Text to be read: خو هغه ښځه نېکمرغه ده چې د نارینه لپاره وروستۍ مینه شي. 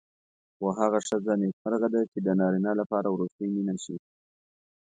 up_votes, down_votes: 2, 0